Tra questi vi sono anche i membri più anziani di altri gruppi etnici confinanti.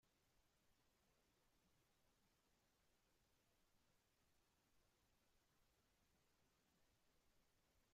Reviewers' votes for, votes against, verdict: 0, 2, rejected